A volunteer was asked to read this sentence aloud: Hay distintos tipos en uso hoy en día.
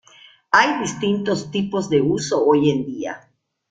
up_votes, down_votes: 1, 2